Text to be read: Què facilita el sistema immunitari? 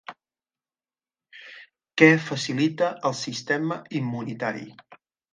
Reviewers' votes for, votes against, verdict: 0, 2, rejected